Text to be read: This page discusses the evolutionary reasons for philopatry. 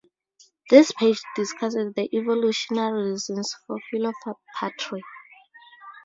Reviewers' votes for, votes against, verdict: 0, 4, rejected